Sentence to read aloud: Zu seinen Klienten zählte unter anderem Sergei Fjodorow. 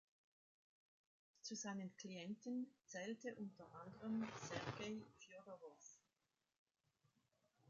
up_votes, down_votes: 1, 2